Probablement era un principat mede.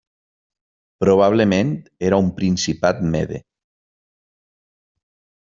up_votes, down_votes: 3, 0